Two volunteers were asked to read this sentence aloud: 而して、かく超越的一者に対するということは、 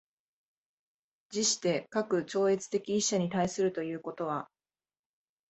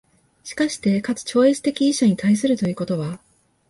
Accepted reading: second